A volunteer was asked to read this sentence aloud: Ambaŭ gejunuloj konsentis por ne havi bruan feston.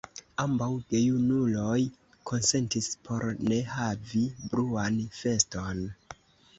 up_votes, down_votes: 2, 1